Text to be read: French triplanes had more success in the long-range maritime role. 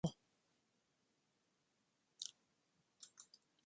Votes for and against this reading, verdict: 0, 2, rejected